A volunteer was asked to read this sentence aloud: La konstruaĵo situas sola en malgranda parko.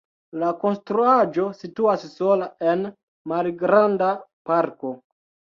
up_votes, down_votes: 0, 2